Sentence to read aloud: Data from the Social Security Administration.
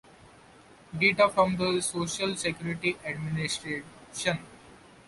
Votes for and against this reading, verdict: 2, 0, accepted